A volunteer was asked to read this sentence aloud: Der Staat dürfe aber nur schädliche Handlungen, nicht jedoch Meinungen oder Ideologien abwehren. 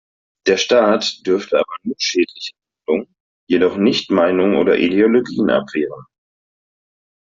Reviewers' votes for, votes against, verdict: 1, 2, rejected